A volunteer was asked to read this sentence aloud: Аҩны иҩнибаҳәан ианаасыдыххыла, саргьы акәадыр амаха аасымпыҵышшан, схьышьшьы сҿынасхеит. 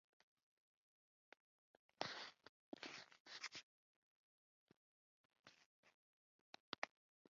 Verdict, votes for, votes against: rejected, 0, 2